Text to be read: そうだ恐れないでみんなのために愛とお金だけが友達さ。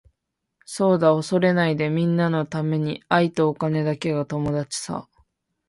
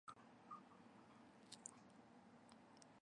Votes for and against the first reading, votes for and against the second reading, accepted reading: 2, 0, 0, 2, first